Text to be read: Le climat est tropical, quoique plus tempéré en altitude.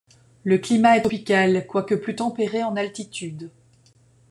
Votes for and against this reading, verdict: 1, 2, rejected